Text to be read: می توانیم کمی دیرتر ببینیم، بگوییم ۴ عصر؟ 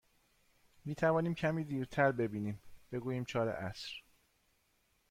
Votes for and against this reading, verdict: 0, 2, rejected